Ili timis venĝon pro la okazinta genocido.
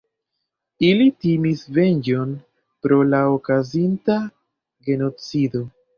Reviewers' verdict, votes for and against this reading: rejected, 1, 2